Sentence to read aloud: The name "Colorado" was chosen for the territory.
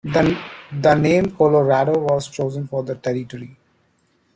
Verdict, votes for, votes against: rejected, 1, 2